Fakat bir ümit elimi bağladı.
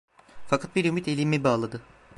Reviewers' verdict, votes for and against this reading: rejected, 0, 2